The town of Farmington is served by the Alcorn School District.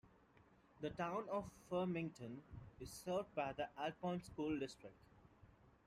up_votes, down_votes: 2, 0